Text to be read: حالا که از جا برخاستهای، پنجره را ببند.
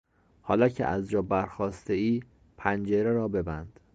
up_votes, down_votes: 2, 0